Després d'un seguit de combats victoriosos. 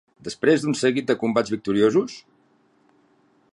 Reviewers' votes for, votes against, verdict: 0, 2, rejected